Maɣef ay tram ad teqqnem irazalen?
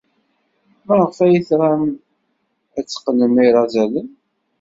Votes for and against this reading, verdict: 2, 0, accepted